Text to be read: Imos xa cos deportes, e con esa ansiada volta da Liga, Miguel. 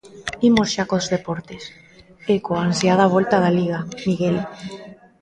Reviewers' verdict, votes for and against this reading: rejected, 0, 2